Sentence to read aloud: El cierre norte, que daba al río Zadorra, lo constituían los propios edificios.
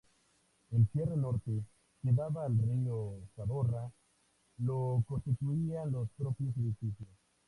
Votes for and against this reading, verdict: 2, 0, accepted